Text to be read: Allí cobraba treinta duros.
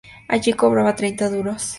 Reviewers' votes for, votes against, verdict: 2, 0, accepted